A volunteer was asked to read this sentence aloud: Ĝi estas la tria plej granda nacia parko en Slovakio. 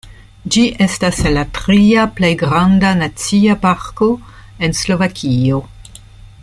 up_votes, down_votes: 2, 0